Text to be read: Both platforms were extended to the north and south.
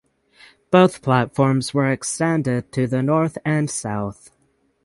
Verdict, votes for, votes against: accepted, 6, 0